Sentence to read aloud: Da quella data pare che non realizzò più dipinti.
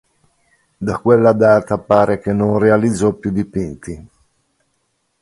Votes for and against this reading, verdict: 2, 0, accepted